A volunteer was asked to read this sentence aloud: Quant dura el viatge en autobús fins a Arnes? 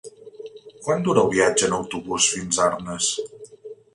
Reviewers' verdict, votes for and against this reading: accepted, 3, 0